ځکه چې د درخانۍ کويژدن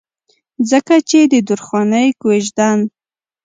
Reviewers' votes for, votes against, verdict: 2, 0, accepted